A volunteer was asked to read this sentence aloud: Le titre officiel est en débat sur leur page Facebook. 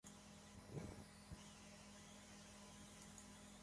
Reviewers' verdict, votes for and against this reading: rejected, 0, 2